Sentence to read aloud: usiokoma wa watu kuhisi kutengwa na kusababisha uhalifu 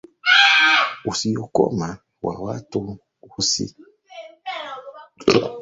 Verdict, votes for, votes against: rejected, 0, 2